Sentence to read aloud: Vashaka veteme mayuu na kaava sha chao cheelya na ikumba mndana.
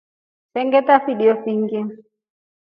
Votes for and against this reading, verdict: 1, 2, rejected